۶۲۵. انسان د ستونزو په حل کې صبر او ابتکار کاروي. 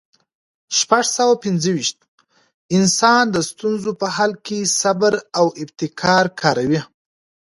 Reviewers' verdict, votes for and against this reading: rejected, 0, 2